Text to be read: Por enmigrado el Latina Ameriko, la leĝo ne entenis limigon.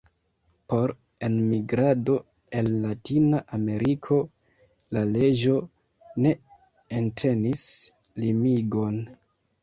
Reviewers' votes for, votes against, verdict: 2, 1, accepted